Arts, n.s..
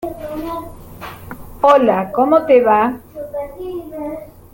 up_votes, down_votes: 0, 2